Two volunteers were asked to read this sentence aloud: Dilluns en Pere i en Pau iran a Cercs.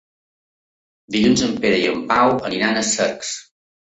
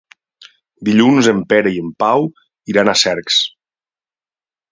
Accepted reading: second